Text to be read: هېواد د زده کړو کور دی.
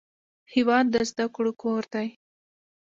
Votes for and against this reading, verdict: 2, 0, accepted